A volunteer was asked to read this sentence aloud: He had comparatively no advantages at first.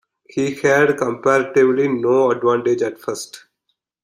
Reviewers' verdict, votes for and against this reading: rejected, 1, 2